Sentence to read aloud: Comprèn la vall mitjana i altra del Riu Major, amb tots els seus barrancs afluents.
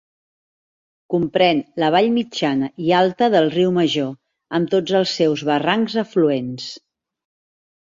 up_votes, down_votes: 2, 0